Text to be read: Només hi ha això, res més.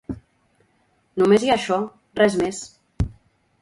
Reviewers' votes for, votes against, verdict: 2, 0, accepted